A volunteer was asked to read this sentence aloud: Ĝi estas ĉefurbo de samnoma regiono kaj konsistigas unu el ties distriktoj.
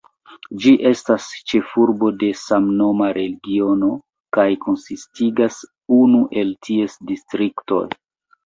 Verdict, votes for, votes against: accepted, 2, 0